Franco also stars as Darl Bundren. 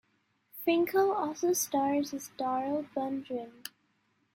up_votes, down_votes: 2, 0